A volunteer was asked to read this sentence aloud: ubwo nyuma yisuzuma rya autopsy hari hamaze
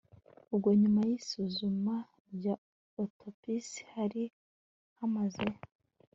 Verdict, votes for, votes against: accepted, 2, 1